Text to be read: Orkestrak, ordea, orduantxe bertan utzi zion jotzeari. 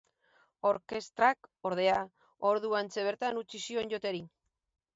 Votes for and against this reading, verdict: 2, 4, rejected